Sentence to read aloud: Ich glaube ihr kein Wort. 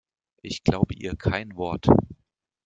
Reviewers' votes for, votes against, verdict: 2, 0, accepted